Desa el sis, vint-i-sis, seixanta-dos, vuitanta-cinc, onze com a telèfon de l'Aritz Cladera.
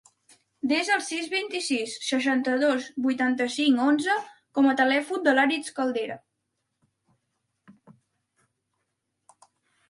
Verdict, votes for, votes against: rejected, 0, 2